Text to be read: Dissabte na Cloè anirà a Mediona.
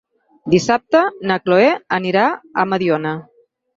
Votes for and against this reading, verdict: 6, 0, accepted